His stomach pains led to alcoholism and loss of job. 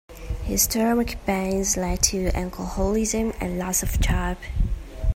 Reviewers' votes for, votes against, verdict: 2, 0, accepted